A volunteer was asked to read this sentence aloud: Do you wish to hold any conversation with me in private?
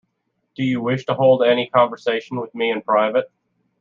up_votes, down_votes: 2, 0